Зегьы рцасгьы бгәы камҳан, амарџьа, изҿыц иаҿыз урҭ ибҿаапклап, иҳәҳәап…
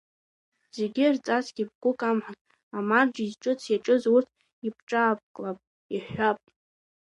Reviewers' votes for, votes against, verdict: 0, 2, rejected